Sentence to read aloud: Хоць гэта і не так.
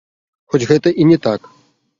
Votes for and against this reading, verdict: 0, 3, rejected